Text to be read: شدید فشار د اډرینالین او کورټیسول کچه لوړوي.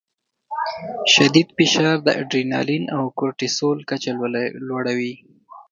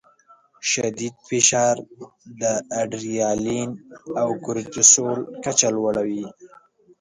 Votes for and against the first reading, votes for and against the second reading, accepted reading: 1, 2, 2, 1, second